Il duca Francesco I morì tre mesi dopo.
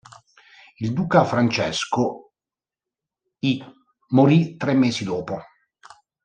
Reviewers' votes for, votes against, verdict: 0, 2, rejected